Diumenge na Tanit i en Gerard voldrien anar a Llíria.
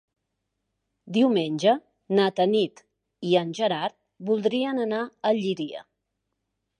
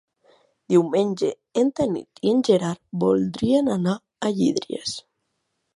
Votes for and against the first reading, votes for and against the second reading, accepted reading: 2, 0, 0, 2, first